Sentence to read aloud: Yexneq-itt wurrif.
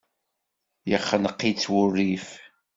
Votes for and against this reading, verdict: 2, 0, accepted